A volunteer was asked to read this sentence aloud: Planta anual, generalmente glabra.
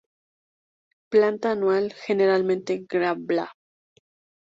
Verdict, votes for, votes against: rejected, 2, 2